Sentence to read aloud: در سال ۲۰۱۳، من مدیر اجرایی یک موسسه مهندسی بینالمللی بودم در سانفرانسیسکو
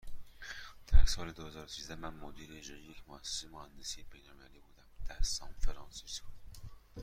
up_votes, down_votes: 0, 2